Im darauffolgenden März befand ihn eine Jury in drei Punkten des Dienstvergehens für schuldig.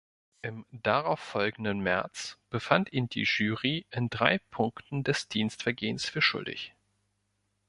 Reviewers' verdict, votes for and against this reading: rejected, 0, 2